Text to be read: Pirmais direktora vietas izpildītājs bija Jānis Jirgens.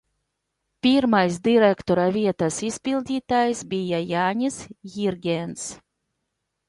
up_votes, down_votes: 2, 0